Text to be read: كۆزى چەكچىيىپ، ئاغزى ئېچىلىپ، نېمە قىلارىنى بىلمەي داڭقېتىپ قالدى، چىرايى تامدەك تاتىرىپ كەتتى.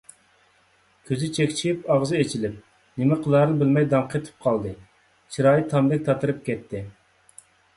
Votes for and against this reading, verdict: 2, 0, accepted